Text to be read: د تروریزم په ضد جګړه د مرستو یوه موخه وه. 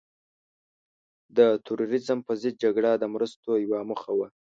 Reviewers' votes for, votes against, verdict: 2, 0, accepted